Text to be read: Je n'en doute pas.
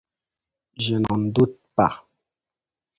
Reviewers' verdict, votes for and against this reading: accepted, 2, 0